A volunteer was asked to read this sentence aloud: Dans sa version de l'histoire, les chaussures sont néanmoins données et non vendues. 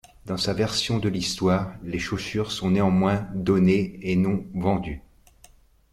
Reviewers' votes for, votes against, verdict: 2, 1, accepted